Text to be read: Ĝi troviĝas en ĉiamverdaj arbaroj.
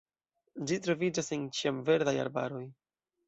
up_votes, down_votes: 2, 0